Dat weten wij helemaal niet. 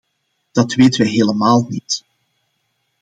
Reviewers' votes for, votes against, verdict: 2, 0, accepted